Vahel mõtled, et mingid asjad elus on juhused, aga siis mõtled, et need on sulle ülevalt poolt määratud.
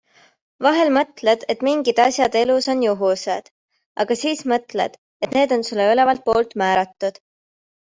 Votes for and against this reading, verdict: 2, 0, accepted